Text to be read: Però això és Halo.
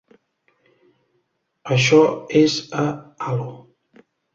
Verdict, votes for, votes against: rejected, 1, 2